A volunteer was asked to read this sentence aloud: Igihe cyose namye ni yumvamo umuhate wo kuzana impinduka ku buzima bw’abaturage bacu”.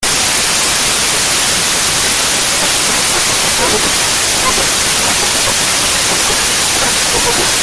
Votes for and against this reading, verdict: 0, 2, rejected